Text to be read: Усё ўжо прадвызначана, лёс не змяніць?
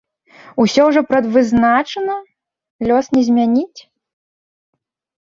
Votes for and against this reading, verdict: 1, 2, rejected